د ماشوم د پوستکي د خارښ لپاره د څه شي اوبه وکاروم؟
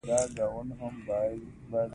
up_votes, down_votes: 1, 2